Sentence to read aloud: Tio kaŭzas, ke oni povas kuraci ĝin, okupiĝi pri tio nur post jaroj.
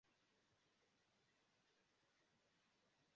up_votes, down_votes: 0, 2